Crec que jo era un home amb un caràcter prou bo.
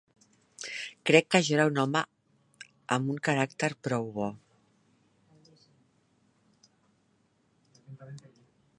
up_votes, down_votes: 2, 0